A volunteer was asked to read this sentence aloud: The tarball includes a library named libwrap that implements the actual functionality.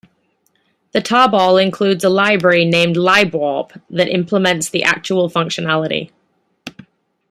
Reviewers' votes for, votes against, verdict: 0, 2, rejected